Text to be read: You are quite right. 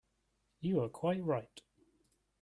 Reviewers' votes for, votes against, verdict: 2, 0, accepted